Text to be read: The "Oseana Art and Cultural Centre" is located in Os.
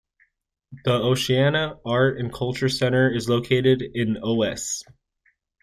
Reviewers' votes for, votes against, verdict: 0, 2, rejected